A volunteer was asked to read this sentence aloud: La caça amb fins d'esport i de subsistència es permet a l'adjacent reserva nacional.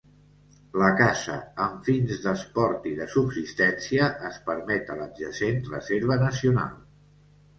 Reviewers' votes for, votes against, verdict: 3, 0, accepted